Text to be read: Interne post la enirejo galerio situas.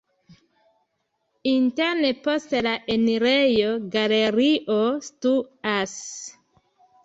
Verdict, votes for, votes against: accepted, 2, 1